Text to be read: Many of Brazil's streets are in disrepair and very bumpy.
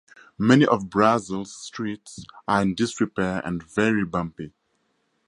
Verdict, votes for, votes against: accepted, 2, 0